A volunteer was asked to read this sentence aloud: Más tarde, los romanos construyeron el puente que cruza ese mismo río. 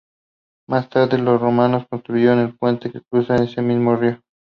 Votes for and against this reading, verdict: 2, 0, accepted